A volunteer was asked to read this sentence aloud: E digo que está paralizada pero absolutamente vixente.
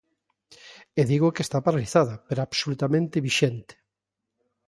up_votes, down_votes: 2, 0